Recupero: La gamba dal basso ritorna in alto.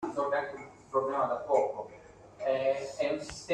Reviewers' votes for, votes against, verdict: 0, 2, rejected